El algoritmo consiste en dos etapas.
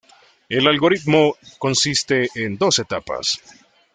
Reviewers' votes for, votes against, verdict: 2, 1, accepted